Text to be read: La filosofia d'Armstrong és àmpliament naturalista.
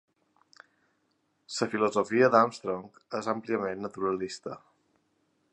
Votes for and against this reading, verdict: 2, 1, accepted